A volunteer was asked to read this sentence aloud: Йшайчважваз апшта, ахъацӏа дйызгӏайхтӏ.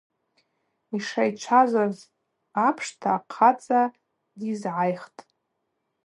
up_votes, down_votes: 4, 0